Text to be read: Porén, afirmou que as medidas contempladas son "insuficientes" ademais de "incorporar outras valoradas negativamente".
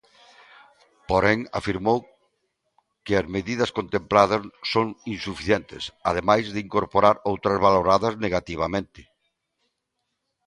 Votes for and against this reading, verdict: 2, 0, accepted